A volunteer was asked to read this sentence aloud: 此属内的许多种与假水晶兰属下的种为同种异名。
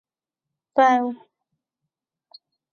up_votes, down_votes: 1, 2